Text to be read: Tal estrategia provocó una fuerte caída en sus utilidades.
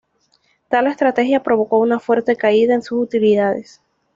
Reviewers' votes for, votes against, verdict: 2, 0, accepted